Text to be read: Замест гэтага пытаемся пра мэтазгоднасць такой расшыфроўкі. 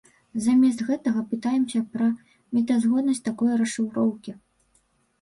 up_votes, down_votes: 2, 1